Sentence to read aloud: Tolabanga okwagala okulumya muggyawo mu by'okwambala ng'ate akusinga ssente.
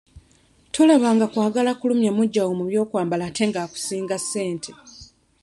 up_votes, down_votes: 1, 2